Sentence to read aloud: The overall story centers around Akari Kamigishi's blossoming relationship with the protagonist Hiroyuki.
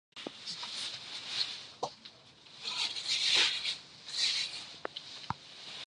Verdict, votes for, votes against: rejected, 0, 2